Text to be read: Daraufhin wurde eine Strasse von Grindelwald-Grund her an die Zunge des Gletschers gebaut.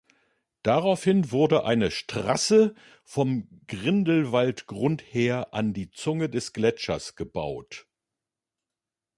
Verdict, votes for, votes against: rejected, 0, 2